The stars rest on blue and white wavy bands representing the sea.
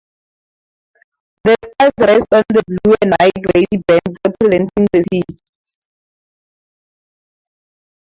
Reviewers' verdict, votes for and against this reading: rejected, 0, 2